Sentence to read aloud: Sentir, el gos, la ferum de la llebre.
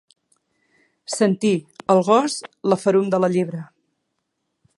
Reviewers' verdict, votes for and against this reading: accepted, 2, 0